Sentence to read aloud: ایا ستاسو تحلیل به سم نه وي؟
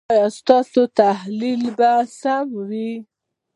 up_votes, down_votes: 1, 2